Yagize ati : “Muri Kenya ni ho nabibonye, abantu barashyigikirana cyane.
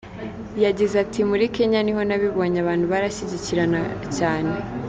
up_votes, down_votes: 2, 1